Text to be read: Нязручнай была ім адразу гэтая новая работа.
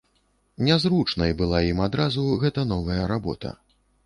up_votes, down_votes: 1, 2